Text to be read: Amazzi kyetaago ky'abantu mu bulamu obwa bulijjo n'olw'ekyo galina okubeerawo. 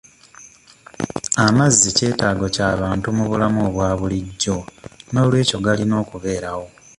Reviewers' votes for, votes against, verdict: 1, 2, rejected